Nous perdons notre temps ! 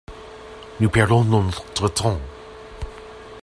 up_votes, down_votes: 0, 2